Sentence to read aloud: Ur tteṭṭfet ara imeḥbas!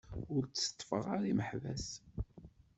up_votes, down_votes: 1, 2